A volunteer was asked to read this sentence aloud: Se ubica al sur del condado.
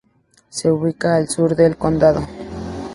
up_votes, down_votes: 4, 0